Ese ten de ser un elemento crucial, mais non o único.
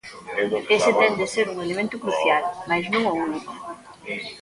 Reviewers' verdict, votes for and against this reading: rejected, 0, 2